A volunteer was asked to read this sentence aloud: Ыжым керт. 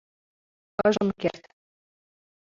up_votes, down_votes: 1, 2